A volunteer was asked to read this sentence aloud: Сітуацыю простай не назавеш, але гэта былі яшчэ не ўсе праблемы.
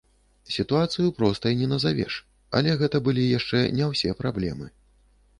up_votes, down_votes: 2, 0